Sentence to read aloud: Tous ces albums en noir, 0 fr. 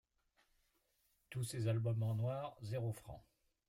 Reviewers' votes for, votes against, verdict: 0, 2, rejected